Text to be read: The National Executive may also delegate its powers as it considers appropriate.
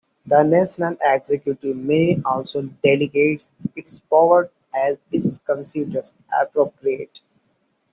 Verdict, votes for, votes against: accepted, 2, 0